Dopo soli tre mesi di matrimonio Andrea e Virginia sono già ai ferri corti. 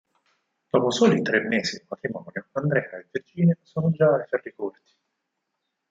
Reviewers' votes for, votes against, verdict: 4, 0, accepted